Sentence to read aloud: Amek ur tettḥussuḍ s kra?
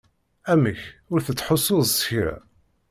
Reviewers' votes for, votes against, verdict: 2, 0, accepted